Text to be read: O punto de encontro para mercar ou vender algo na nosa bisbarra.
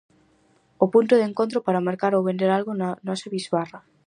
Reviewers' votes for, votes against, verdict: 4, 0, accepted